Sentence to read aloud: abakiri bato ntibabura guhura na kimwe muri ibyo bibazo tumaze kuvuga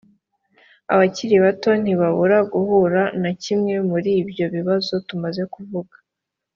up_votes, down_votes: 3, 1